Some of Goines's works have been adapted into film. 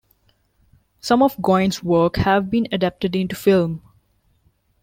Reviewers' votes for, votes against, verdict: 1, 2, rejected